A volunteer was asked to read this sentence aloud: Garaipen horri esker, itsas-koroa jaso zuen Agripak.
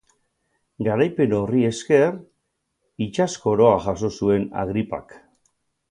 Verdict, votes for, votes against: accepted, 6, 0